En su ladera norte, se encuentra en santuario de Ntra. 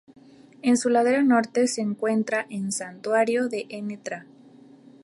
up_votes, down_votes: 0, 2